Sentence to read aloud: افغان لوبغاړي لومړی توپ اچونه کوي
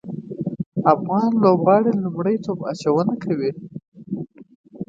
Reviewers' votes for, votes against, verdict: 2, 1, accepted